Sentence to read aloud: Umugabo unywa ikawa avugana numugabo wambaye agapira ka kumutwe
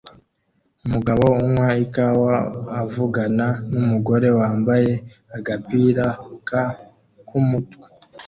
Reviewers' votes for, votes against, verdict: 2, 1, accepted